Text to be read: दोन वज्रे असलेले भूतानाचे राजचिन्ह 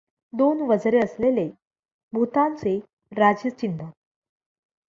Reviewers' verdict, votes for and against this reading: rejected, 0, 2